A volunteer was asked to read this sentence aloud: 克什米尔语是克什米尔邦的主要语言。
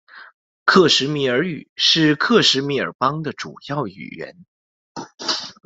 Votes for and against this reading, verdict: 2, 0, accepted